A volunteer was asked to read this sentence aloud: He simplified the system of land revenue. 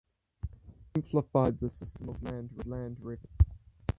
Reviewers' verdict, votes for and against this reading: rejected, 2, 4